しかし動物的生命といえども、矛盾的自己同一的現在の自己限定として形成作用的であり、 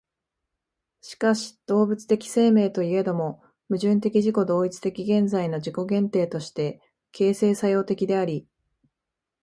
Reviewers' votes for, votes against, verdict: 5, 0, accepted